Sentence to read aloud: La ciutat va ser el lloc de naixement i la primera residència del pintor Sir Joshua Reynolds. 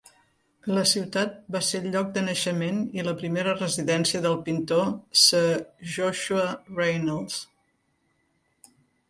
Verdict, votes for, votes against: accepted, 2, 0